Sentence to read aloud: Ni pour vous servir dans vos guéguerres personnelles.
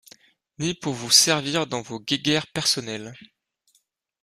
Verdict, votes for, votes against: accepted, 2, 0